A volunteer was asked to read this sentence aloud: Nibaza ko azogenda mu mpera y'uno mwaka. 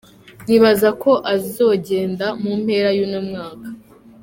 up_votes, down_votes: 2, 0